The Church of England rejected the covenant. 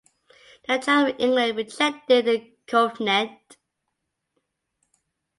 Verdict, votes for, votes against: rejected, 0, 2